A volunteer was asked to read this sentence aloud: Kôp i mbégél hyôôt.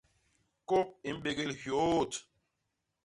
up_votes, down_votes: 2, 0